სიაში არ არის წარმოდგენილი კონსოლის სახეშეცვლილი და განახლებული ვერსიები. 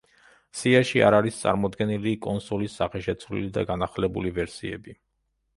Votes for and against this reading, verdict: 2, 0, accepted